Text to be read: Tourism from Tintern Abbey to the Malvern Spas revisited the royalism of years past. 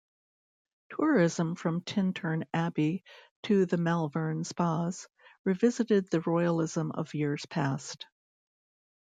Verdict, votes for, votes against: accepted, 2, 0